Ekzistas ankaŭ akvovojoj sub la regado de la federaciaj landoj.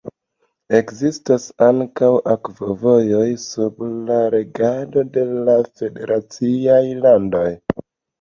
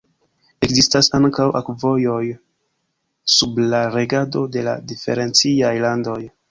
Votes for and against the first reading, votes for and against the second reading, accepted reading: 2, 0, 0, 2, first